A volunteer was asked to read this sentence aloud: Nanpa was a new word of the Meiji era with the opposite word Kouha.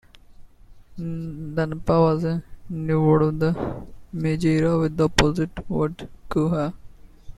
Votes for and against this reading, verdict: 1, 2, rejected